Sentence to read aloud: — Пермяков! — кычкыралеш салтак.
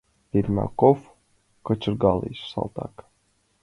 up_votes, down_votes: 1, 2